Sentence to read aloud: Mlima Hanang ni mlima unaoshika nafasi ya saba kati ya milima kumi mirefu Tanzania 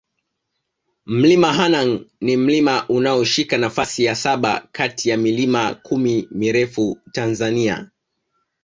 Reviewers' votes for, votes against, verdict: 2, 0, accepted